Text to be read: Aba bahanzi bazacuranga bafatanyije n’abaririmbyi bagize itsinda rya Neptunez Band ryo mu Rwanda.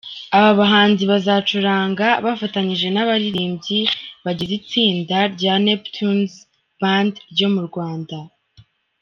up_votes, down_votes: 2, 1